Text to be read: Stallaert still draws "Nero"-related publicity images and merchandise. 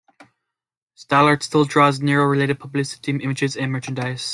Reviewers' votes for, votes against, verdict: 2, 0, accepted